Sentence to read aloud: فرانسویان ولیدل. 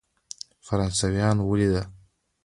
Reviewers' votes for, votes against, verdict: 2, 1, accepted